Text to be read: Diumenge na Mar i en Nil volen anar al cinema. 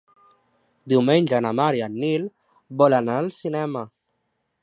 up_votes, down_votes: 2, 4